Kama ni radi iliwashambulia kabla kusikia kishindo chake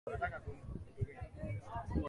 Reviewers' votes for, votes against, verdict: 0, 2, rejected